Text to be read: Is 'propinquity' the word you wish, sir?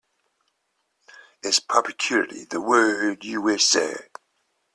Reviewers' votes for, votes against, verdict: 2, 0, accepted